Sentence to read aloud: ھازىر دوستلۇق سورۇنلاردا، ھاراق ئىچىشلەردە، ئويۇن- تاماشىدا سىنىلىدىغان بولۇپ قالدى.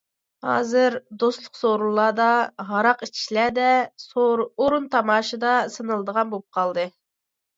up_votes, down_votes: 1, 2